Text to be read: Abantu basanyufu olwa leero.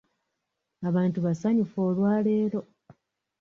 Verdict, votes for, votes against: accepted, 2, 0